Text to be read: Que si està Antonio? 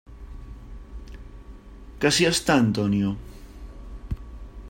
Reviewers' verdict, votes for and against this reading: accepted, 3, 0